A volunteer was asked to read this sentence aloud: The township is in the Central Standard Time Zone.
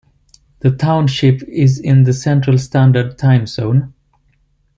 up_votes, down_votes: 2, 1